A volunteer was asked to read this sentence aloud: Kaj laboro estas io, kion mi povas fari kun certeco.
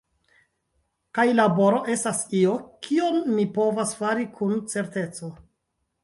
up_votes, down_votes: 1, 2